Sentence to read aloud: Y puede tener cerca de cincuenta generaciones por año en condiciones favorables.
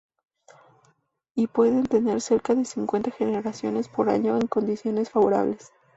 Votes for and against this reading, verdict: 0, 2, rejected